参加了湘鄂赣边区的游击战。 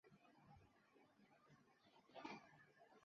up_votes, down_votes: 0, 3